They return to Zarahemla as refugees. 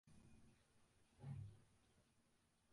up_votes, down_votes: 0, 2